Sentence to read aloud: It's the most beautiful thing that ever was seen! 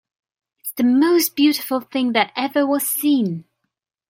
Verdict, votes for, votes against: accepted, 2, 0